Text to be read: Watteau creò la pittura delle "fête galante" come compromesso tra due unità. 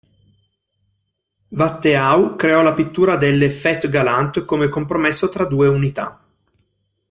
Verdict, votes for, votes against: accepted, 2, 0